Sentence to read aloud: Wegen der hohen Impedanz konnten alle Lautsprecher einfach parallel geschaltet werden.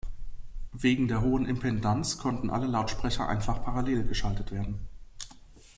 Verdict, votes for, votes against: rejected, 0, 2